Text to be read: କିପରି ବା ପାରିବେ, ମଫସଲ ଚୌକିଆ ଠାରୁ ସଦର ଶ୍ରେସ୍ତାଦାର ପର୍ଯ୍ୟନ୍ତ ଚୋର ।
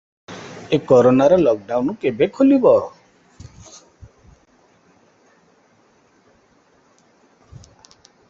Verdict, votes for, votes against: rejected, 0, 2